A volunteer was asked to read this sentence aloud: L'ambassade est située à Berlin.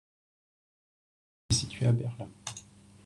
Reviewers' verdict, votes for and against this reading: rejected, 0, 2